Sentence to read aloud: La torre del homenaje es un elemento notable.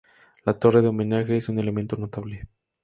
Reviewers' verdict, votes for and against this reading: rejected, 2, 2